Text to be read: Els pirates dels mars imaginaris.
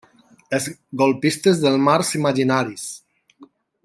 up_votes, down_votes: 0, 2